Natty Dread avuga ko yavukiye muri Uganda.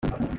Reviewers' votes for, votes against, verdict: 0, 2, rejected